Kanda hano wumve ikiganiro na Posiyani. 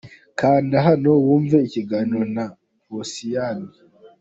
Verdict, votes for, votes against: accepted, 2, 0